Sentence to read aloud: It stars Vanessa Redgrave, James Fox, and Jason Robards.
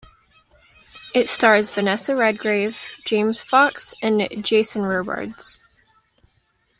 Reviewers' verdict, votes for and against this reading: accepted, 2, 0